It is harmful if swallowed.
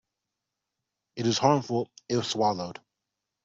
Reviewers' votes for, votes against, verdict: 2, 0, accepted